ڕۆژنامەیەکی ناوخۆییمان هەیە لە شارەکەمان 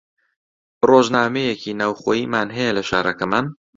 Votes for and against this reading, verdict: 2, 0, accepted